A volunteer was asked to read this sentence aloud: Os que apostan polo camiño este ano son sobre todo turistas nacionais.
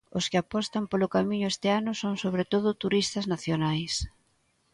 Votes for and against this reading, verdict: 2, 0, accepted